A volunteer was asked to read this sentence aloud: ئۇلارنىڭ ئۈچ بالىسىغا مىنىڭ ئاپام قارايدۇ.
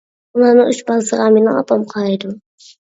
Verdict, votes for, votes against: rejected, 1, 2